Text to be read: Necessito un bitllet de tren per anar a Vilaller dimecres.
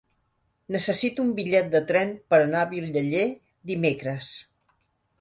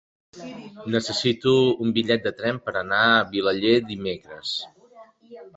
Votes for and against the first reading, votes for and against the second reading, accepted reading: 0, 2, 3, 1, second